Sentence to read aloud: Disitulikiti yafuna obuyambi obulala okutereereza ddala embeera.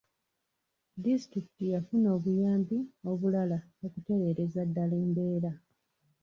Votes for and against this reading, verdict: 2, 0, accepted